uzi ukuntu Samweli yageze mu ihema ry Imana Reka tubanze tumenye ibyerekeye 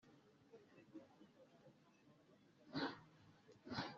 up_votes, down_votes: 0, 2